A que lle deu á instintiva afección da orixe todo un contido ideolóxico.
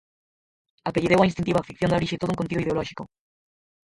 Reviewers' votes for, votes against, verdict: 0, 4, rejected